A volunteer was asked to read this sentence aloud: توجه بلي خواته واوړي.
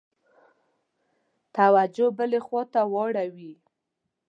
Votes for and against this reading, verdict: 3, 0, accepted